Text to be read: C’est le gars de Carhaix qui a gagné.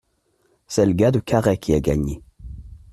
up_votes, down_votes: 2, 0